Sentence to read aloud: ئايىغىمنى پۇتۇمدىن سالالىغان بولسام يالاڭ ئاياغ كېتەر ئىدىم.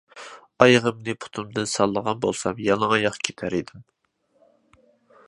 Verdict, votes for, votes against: rejected, 0, 2